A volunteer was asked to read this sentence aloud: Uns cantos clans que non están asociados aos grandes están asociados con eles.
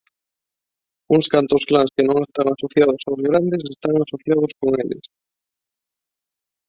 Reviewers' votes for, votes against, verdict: 0, 2, rejected